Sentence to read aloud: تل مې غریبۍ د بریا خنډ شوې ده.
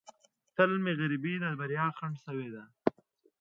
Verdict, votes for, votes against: accepted, 2, 0